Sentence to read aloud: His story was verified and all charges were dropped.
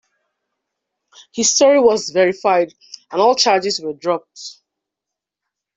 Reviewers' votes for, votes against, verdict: 2, 0, accepted